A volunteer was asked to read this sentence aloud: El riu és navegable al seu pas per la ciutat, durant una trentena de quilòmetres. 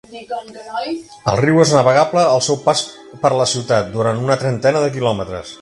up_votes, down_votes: 0, 2